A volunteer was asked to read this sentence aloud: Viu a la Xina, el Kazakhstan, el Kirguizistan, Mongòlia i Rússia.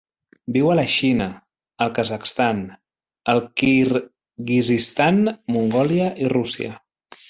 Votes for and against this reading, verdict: 1, 2, rejected